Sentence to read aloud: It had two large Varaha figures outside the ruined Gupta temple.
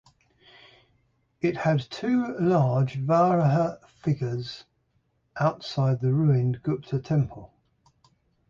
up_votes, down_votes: 6, 0